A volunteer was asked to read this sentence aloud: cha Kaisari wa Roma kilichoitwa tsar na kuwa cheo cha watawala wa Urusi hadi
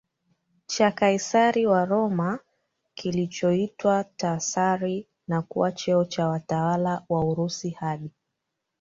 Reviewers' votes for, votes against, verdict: 0, 2, rejected